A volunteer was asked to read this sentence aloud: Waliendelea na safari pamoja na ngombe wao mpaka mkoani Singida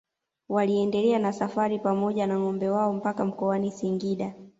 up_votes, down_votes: 2, 0